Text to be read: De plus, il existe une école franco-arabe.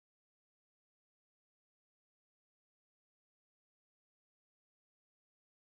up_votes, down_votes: 1, 2